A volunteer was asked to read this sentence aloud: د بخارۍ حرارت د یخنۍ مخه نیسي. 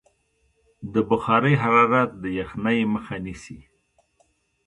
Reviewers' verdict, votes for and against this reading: accepted, 2, 0